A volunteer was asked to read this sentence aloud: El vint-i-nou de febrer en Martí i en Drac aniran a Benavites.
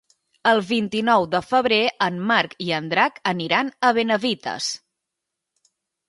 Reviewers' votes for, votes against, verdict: 0, 2, rejected